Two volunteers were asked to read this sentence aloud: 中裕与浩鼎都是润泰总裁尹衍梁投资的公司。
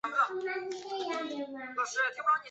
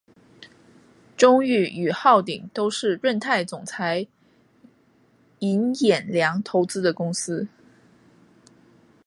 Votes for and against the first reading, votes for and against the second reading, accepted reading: 2, 3, 2, 0, second